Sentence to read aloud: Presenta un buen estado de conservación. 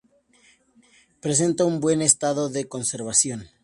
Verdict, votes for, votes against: accepted, 4, 0